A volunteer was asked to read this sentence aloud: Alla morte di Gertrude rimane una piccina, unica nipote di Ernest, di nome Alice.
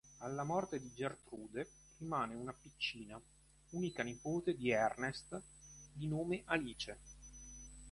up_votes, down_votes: 4, 1